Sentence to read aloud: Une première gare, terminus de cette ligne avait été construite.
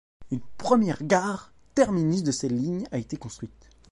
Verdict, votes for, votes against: rejected, 1, 2